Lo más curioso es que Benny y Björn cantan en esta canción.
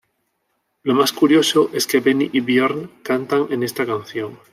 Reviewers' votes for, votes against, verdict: 2, 0, accepted